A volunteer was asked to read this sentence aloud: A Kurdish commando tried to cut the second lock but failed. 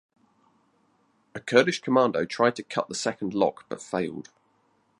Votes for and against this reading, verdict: 2, 0, accepted